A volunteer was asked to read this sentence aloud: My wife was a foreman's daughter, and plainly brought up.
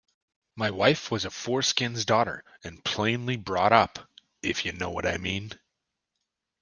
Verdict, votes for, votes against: rejected, 0, 2